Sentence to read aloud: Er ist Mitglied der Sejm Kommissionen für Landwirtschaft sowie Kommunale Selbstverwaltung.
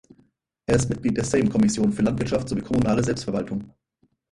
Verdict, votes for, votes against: rejected, 0, 4